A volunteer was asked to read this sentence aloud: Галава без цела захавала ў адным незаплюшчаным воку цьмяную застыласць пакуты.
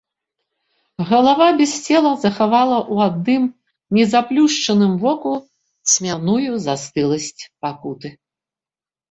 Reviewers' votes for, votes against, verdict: 0, 2, rejected